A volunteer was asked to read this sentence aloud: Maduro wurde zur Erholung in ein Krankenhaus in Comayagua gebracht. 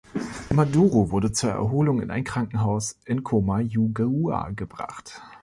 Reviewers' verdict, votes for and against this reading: rejected, 1, 3